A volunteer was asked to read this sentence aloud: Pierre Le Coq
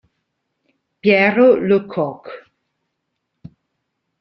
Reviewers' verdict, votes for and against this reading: rejected, 0, 2